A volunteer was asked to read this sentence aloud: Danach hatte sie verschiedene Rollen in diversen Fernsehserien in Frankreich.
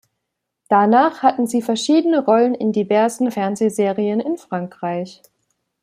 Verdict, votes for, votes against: rejected, 0, 2